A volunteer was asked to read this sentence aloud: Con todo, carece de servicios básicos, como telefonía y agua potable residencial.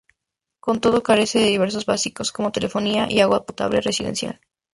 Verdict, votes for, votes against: accepted, 2, 0